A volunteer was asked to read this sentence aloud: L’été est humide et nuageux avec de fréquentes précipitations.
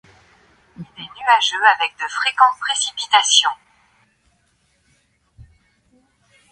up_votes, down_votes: 1, 3